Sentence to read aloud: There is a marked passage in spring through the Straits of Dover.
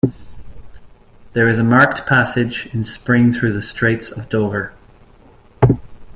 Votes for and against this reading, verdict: 2, 0, accepted